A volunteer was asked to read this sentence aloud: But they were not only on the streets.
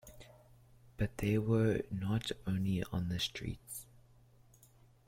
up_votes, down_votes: 1, 2